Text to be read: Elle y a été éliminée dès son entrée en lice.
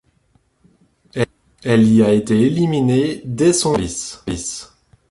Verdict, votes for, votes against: rejected, 0, 2